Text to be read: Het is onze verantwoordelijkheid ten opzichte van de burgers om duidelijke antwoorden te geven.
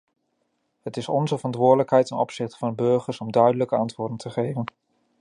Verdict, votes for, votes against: rejected, 1, 2